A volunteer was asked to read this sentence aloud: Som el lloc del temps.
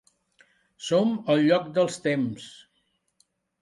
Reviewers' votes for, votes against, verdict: 0, 2, rejected